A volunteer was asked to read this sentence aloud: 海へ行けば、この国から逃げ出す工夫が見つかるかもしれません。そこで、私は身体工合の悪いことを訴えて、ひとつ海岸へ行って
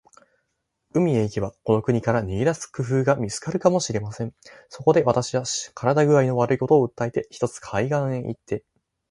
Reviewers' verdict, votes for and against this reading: accepted, 2, 0